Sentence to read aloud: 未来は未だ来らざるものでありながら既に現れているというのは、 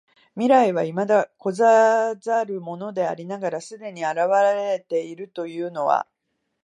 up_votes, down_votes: 1, 2